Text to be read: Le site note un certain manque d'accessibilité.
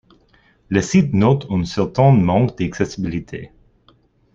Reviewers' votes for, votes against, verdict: 0, 2, rejected